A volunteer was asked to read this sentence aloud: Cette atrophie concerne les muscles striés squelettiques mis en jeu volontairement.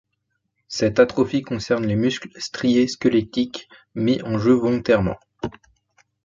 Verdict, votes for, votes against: accepted, 2, 0